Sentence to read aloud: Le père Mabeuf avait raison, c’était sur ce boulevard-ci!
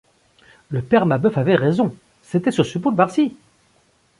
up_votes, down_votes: 1, 2